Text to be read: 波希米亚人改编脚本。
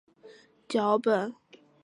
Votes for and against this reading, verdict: 0, 2, rejected